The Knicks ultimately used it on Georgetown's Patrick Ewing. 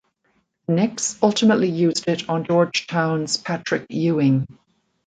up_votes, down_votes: 0, 2